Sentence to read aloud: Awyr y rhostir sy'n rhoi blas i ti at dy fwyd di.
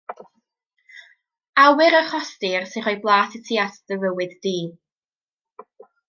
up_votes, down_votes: 1, 2